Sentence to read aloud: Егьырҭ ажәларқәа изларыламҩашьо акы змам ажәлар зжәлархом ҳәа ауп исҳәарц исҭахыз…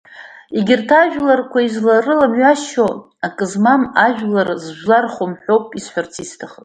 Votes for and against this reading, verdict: 2, 0, accepted